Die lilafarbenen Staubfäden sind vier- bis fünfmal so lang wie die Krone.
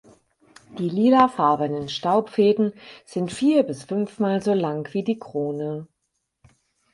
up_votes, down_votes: 4, 0